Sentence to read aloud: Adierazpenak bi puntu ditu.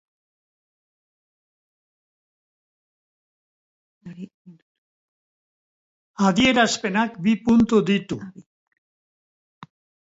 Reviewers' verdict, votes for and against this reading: rejected, 1, 2